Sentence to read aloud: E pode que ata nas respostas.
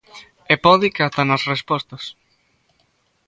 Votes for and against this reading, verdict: 2, 0, accepted